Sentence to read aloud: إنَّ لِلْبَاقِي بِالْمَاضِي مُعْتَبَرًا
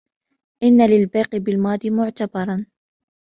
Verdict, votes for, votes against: rejected, 1, 2